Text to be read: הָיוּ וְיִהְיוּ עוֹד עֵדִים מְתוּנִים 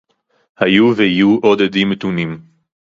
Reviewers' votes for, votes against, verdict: 2, 2, rejected